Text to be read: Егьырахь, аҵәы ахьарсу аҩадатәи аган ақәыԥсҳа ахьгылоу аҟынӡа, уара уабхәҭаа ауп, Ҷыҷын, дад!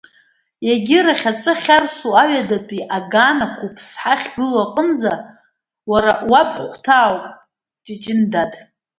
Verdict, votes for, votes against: accepted, 2, 0